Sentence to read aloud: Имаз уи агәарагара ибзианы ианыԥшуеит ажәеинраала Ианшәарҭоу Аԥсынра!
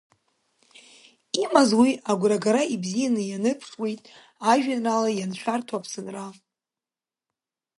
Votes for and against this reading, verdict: 0, 2, rejected